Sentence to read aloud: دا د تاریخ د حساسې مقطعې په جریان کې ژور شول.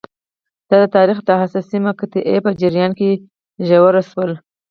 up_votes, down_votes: 0, 4